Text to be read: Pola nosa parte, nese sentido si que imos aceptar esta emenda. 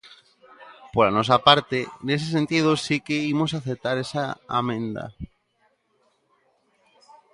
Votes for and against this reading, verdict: 0, 2, rejected